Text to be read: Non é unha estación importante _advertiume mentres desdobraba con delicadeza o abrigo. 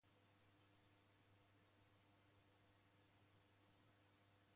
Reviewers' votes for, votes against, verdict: 0, 2, rejected